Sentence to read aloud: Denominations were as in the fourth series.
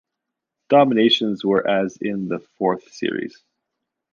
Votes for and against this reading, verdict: 0, 2, rejected